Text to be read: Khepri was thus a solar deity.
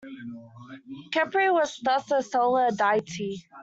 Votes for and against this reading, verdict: 2, 1, accepted